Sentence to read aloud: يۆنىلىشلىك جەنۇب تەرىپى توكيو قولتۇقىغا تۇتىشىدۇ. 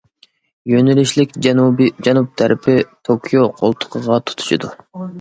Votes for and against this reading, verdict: 0, 2, rejected